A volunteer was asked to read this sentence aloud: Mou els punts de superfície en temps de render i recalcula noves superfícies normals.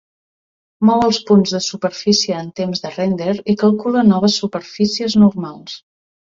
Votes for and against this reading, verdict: 0, 2, rejected